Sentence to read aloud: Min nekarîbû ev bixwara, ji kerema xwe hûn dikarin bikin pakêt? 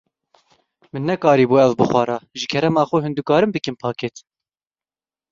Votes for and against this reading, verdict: 2, 0, accepted